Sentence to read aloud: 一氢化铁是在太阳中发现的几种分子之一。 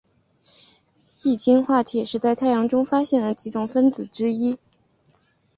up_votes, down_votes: 7, 0